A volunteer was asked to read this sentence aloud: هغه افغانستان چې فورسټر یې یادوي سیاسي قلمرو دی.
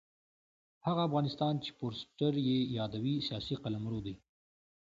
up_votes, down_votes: 2, 0